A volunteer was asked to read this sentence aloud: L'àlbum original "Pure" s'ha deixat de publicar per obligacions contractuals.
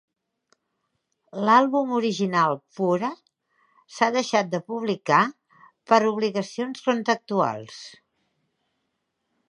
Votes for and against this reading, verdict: 0, 2, rejected